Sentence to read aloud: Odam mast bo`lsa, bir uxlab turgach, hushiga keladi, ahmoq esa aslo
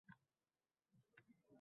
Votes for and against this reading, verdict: 0, 2, rejected